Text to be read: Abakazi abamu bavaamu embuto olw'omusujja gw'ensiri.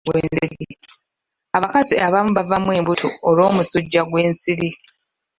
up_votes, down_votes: 2, 0